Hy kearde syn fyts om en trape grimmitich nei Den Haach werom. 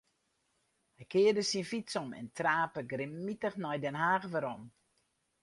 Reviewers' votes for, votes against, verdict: 4, 0, accepted